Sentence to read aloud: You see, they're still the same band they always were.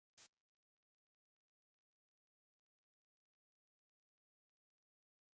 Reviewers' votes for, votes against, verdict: 0, 2, rejected